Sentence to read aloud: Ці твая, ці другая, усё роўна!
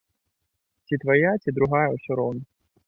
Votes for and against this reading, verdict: 2, 0, accepted